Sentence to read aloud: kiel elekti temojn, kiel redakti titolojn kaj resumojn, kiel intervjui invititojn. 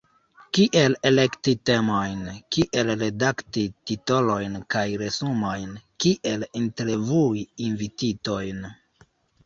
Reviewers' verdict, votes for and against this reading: rejected, 1, 2